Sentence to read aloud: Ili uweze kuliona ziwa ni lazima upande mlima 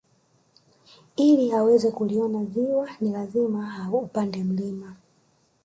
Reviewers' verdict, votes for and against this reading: accepted, 2, 1